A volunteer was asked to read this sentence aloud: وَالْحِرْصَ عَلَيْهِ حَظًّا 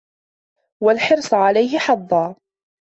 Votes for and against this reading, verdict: 2, 0, accepted